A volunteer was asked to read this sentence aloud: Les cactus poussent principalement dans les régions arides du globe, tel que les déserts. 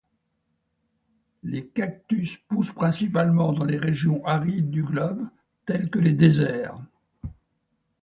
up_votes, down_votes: 2, 0